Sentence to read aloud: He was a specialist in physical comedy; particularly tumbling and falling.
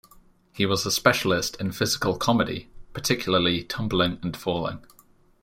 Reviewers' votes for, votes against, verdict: 2, 0, accepted